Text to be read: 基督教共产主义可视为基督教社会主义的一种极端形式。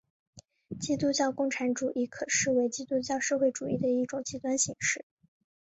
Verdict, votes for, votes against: accepted, 4, 0